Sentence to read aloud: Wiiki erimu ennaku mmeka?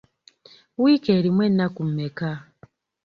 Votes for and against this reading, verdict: 2, 0, accepted